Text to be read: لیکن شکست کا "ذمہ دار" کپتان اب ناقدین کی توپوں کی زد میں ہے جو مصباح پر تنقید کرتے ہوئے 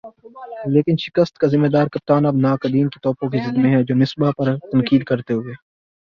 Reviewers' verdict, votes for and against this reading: accepted, 7, 3